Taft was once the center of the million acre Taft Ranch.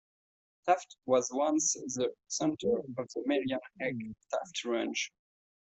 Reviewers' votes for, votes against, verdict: 1, 2, rejected